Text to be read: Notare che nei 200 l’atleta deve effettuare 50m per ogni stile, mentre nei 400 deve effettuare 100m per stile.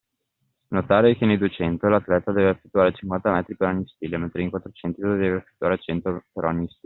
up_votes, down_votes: 0, 2